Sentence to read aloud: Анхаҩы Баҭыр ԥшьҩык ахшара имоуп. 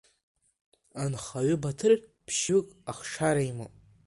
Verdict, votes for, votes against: accepted, 3, 0